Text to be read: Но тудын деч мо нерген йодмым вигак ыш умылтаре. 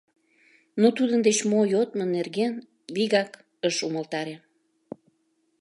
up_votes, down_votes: 0, 2